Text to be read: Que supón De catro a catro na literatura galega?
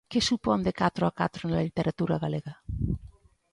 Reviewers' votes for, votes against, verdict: 2, 0, accepted